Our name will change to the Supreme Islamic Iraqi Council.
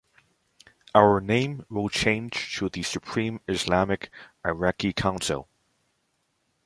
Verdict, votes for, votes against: accepted, 2, 0